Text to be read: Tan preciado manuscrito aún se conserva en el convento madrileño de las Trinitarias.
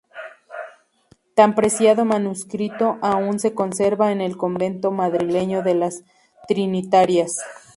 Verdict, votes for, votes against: accepted, 8, 0